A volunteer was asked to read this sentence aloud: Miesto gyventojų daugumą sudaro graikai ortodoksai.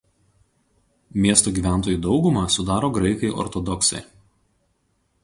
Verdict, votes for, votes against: accepted, 2, 0